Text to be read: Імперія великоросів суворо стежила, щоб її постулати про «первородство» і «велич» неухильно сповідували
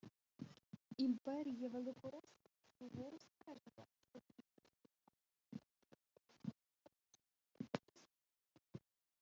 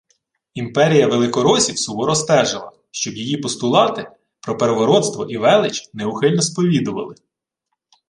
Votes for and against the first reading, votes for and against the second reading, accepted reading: 0, 2, 2, 0, second